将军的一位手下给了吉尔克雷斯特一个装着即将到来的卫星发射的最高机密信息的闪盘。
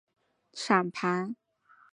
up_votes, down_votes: 0, 2